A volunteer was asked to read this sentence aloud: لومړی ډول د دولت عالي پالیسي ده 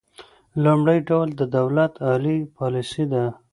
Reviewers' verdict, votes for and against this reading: accepted, 2, 0